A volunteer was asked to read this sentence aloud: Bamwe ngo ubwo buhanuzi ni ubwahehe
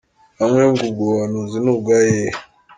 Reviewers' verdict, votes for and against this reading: accepted, 2, 0